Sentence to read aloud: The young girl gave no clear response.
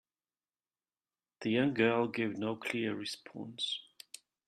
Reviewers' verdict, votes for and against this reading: rejected, 1, 2